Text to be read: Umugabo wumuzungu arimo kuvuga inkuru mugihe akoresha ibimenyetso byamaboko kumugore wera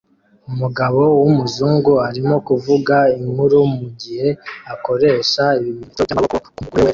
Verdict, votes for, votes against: rejected, 0, 2